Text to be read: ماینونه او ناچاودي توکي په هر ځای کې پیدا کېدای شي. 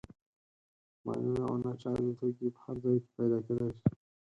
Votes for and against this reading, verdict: 2, 4, rejected